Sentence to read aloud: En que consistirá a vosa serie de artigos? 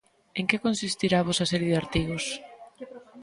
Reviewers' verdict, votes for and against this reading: accepted, 2, 0